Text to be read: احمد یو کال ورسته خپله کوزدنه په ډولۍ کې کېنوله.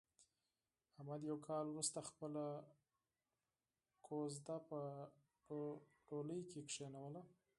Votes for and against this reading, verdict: 0, 4, rejected